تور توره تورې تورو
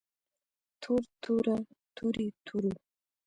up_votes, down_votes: 2, 1